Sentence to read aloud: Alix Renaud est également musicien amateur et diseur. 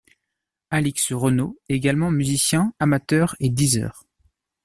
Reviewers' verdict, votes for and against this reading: rejected, 0, 2